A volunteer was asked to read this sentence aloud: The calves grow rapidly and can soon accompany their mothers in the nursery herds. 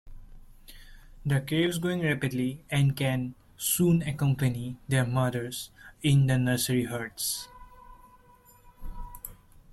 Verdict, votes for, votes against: rejected, 0, 2